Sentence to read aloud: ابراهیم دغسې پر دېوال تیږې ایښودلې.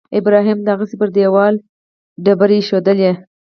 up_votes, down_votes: 4, 2